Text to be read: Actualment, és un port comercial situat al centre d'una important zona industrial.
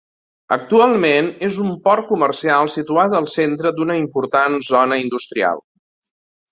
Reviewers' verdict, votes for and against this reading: accepted, 2, 0